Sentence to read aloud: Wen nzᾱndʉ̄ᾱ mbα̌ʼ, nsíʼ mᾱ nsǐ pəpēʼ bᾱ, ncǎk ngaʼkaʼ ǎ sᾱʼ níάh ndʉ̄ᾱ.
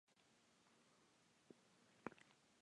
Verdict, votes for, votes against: rejected, 0, 2